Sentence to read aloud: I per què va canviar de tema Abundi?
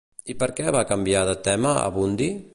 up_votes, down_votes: 2, 0